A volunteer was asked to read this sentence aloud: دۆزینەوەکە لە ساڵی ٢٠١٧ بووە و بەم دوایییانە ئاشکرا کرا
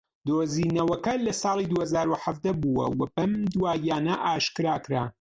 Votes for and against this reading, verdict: 0, 2, rejected